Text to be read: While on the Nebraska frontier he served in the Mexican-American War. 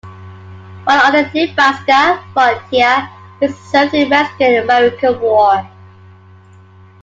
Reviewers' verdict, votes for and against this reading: rejected, 1, 2